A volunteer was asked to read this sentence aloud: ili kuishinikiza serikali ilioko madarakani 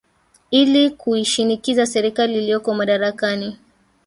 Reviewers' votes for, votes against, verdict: 1, 2, rejected